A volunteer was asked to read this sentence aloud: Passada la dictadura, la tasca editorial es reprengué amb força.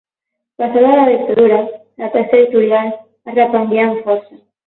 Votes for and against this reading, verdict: 0, 12, rejected